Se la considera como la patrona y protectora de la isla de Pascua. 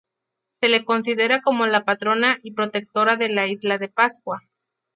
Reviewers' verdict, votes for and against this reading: rejected, 0, 2